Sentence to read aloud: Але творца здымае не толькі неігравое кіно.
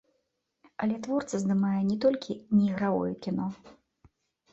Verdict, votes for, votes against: accepted, 2, 0